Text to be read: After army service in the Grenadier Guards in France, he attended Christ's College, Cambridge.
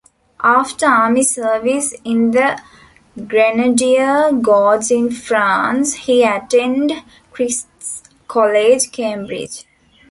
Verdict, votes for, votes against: rejected, 0, 2